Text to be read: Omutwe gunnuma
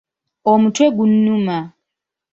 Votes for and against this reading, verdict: 2, 1, accepted